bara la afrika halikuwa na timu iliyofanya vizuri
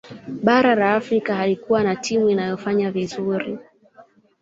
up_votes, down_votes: 2, 0